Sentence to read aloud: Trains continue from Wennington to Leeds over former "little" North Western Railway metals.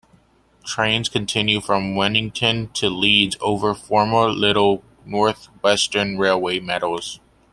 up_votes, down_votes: 2, 0